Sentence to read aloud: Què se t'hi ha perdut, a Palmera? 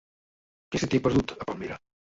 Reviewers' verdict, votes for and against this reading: rejected, 0, 4